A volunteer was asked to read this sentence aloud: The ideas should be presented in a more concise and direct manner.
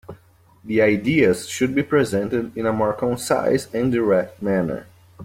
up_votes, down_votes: 2, 0